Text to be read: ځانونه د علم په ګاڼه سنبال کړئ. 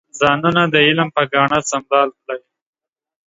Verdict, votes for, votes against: accepted, 2, 0